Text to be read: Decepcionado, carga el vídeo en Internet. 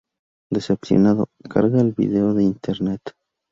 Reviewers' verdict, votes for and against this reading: rejected, 0, 2